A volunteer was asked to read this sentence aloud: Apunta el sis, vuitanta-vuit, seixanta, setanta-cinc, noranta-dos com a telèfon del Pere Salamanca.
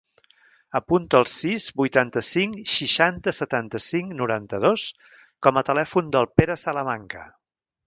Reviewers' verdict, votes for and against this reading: rejected, 0, 2